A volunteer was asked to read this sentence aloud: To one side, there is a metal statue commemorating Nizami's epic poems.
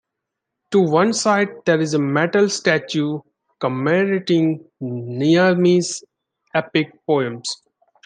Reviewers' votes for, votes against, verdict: 2, 0, accepted